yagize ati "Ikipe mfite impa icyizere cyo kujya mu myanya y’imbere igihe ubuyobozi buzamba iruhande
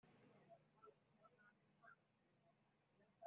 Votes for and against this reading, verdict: 0, 3, rejected